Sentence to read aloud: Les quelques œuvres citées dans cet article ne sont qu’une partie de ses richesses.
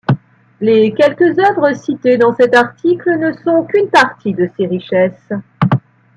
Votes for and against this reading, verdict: 2, 1, accepted